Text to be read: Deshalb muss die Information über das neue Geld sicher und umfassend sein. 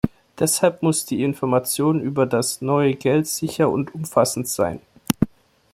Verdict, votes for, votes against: accepted, 2, 0